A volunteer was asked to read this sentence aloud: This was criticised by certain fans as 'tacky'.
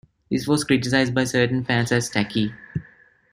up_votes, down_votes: 2, 0